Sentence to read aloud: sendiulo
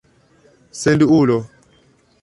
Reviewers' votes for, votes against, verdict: 1, 2, rejected